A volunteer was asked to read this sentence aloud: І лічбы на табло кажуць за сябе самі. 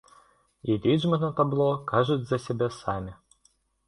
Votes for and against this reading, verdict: 2, 0, accepted